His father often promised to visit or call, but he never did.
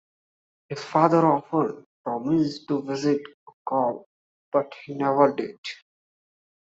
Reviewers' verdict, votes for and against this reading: accepted, 2, 0